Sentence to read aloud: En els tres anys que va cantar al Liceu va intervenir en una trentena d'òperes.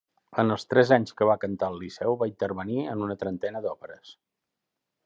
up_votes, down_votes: 2, 0